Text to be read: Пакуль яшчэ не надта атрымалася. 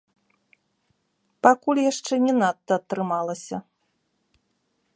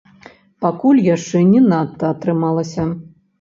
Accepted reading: first